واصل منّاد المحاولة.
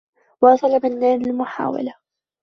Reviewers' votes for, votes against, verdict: 2, 1, accepted